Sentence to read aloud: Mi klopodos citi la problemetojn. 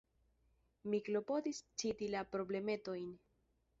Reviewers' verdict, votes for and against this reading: rejected, 0, 2